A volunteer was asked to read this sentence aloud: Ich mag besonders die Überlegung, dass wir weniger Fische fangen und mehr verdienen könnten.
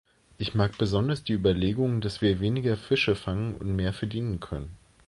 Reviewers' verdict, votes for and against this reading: rejected, 0, 2